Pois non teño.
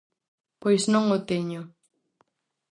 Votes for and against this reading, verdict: 0, 4, rejected